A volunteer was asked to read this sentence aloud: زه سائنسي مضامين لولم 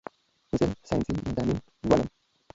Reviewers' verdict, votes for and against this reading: rejected, 1, 2